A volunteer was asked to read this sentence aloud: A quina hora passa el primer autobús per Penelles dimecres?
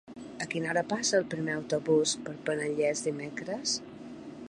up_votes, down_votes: 1, 2